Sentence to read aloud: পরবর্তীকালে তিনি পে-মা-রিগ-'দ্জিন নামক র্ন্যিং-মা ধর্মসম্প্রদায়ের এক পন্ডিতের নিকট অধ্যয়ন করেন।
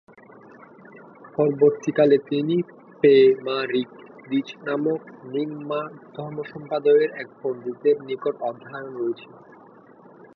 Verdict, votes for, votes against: rejected, 1, 2